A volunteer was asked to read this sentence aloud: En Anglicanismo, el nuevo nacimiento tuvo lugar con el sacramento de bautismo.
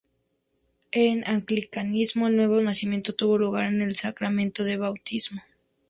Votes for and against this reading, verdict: 2, 0, accepted